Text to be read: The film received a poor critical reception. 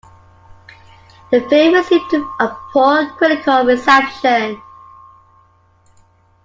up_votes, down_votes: 0, 2